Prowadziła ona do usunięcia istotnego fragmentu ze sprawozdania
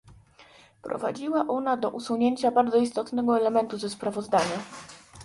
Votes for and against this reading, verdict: 1, 2, rejected